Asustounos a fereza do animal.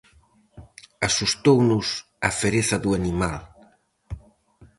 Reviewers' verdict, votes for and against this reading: rejected, 2, 2